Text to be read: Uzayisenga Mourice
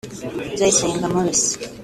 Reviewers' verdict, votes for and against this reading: accepted, 2, 0